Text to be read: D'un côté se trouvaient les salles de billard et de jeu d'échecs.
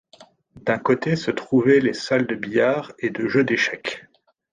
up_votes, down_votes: 2, 1